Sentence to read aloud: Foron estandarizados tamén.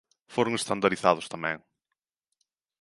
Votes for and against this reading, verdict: 2, 0, accepted